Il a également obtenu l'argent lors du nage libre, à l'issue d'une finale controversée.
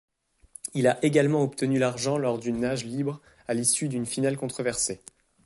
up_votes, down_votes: 2, 0